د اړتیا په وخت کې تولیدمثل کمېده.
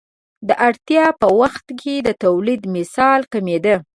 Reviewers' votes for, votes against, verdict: 2, 0, accepted